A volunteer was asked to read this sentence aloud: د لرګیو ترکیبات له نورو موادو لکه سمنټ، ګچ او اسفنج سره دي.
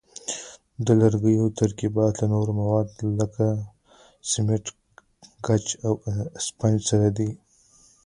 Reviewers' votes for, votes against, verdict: 1, 2, rejected